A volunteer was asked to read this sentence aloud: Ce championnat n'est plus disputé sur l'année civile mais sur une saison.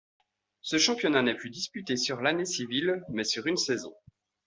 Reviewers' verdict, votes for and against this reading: accepted, 2, 0